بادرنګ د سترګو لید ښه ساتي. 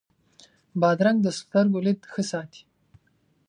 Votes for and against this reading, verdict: 4, 0, accepted